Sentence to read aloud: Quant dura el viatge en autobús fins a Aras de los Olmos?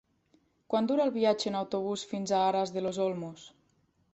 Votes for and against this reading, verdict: 3, 1, accepted